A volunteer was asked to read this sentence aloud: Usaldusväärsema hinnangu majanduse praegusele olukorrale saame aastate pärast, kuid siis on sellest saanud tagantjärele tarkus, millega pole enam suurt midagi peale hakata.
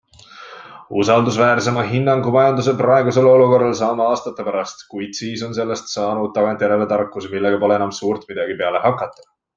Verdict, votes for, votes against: accepted, 2, 0